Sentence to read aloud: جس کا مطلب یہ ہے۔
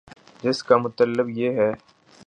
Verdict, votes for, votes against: rejected, 3, 4